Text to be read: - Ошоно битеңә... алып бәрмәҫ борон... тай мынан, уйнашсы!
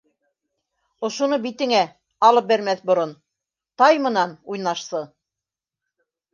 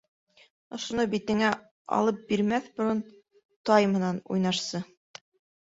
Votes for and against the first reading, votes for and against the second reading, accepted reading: 2, 0, 0, 2, first